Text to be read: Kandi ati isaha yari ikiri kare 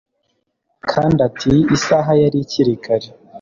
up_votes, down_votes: 2, 0